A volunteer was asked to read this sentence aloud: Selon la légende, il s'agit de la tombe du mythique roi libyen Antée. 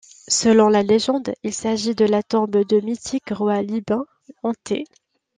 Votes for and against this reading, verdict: 0, 2, rejected